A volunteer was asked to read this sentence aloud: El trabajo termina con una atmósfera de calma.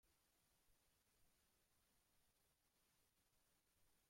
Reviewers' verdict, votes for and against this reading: rejected, 0, 2